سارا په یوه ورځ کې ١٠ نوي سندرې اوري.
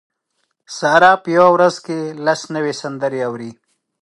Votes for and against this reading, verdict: 0, 2, rejected